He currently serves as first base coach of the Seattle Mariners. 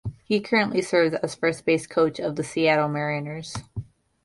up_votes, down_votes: 1, 2